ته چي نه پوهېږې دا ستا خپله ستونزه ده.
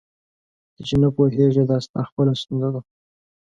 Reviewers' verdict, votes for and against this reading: rejected, 1, 2